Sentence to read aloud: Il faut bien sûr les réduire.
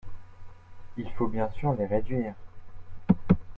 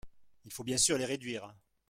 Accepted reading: first